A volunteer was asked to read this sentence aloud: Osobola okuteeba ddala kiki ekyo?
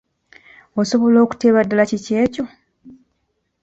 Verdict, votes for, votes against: accepted, 2, 0